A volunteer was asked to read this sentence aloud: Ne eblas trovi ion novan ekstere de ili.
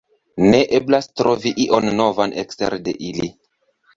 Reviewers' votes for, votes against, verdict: 2, 1, accepted